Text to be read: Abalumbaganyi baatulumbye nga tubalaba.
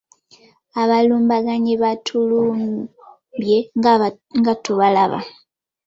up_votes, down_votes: 1, 2